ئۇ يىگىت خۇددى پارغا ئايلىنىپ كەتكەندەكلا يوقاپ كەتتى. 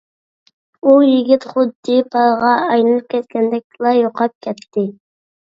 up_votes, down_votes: 2, 0